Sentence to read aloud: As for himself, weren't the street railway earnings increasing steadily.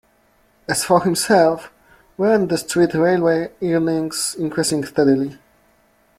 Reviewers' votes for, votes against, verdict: 0, 2, rejected